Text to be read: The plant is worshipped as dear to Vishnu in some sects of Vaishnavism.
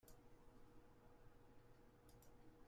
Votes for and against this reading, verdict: 0, 2, rejected